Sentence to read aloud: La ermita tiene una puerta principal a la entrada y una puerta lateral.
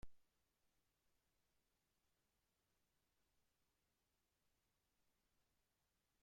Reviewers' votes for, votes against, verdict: 0, 2, rejected